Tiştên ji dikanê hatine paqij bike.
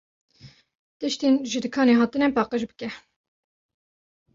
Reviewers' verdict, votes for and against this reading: accepted, 2, 0